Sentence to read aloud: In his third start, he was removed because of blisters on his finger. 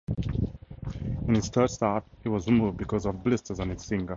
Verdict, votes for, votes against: accepted, 4, 0